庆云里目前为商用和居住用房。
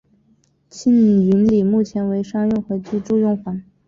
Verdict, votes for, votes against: accepted, 2, 0